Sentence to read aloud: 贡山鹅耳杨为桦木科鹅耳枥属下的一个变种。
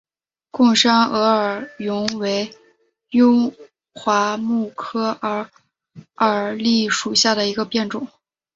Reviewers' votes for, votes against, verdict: 0, 2, rejected